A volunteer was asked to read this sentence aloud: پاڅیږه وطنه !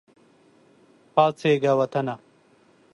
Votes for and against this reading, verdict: 2, 0, accepted